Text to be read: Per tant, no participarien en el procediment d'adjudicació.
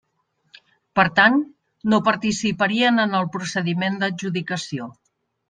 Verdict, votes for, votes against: accepted, 3, 0